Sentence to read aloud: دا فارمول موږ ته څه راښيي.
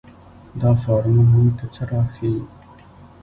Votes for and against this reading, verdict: 0, 2, rejected